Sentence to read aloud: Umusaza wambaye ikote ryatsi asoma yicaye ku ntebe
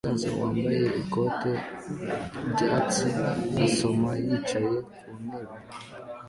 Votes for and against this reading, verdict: 2, 0, accepted